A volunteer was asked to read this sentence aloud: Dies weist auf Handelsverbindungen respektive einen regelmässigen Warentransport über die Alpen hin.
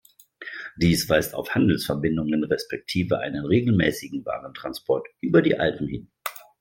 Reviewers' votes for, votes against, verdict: 2, 0, accepted